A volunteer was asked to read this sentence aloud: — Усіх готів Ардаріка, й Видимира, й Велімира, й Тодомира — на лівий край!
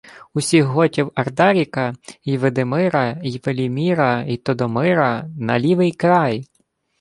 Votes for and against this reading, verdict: 0, 2, rejected